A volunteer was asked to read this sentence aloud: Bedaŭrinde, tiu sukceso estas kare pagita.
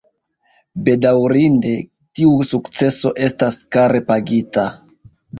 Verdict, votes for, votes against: rejected, 1, 2